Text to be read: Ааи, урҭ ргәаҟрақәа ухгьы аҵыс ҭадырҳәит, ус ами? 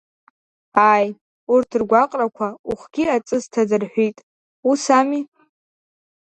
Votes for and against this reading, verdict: 2, 1, accepted